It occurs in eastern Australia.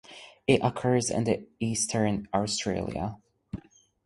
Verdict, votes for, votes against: rejected, 0, 4